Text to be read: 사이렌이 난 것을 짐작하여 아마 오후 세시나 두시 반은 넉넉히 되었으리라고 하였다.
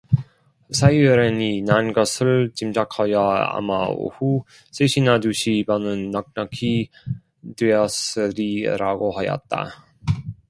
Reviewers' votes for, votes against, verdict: 0, 2, rejected